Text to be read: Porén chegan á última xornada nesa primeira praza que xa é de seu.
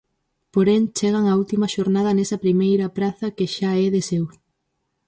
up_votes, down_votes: 4, 0